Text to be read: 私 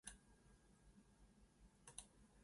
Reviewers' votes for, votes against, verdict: 1, 2, rejected